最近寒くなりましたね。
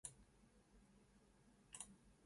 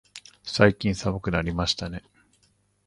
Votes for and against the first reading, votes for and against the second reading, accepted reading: 0, 4, 2, 0, second